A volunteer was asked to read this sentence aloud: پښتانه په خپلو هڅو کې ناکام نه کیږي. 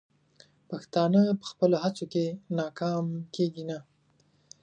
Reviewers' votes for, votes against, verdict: 1, 2, rejected